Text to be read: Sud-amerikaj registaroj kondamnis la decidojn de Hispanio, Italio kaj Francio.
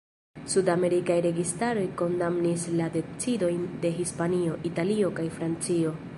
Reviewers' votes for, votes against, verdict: 2, 1, accepted